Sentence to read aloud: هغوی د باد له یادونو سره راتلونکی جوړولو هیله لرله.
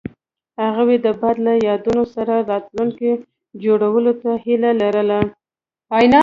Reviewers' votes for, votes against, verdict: 2, 0, accepted